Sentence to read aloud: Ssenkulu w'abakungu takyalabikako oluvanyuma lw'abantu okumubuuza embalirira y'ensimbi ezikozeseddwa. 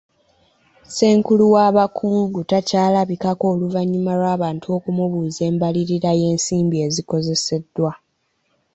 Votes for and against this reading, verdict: 2, 1, accepted